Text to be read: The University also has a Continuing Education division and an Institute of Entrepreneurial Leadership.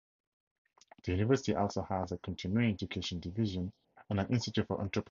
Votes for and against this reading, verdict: 0, 16, rejected